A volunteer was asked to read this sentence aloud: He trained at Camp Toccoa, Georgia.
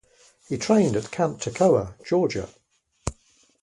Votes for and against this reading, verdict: 2, 0, accepted